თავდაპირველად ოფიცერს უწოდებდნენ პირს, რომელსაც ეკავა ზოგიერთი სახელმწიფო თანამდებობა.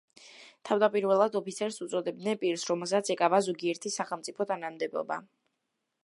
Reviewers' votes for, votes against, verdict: 2, 1, accepted